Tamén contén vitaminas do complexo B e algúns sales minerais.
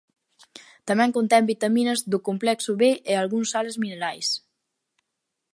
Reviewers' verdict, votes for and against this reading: rejected, 0, 2